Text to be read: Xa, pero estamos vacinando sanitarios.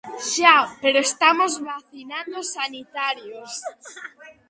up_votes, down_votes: 0, 2